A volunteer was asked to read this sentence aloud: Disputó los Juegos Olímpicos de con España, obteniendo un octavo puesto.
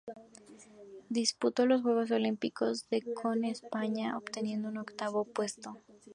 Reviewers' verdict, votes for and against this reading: rejected, 2, 2